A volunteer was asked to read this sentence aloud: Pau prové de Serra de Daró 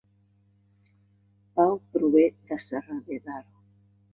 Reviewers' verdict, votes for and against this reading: rejected, 0, 2